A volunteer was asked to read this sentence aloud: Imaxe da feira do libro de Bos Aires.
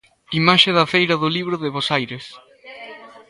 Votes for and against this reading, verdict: 2, 0, accepted